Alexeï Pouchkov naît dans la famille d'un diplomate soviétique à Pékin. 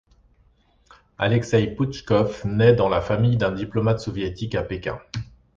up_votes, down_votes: 2, 0